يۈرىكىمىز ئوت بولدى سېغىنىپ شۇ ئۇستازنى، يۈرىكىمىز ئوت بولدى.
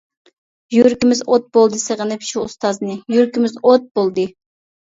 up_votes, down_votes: 2, 0